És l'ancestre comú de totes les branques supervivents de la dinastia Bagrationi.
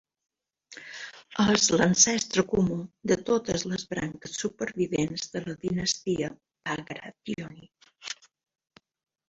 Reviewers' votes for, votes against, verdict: 2, 1, accepted